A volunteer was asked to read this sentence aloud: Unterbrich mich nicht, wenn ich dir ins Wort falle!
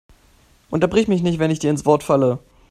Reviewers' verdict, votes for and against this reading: accepted, 2, 0